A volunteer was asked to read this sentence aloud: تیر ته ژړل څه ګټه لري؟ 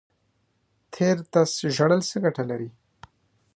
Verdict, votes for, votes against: rejected, 1, 2